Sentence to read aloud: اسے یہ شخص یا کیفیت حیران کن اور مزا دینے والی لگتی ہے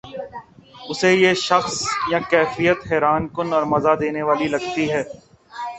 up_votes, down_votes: 3, 2